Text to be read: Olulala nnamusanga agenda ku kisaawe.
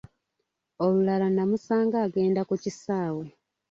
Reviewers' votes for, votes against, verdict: 2, 0, accepted